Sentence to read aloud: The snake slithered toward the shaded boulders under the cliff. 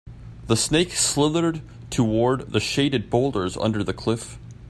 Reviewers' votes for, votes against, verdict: 2, 0, accepted